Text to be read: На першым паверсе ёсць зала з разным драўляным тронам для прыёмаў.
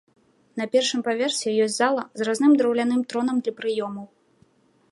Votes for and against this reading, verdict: 2, 0, accepted